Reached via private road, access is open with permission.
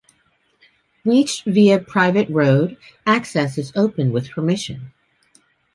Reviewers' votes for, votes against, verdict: 2, 0, accepted